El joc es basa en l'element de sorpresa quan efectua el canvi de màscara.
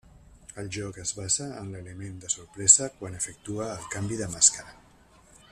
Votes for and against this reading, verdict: 0, 2, rejected